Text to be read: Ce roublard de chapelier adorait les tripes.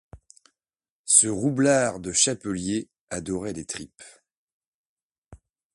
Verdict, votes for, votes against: accepted, 2, 0